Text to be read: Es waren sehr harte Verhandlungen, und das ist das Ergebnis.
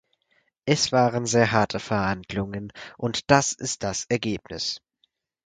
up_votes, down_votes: 4, 0